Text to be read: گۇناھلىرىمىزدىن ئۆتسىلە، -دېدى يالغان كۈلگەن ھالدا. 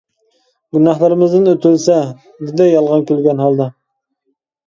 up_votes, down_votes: 0, 2